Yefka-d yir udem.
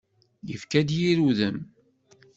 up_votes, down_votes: 2, 0